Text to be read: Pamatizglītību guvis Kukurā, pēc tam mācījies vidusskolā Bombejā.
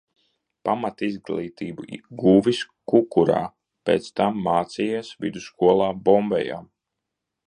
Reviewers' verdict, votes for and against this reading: rejected, 0, 2